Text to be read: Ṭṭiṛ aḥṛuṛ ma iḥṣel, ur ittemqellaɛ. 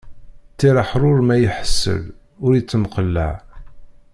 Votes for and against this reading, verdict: 0, 2, rejected